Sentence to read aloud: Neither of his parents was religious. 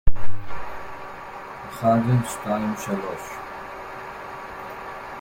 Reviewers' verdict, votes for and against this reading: rejected, 0, 3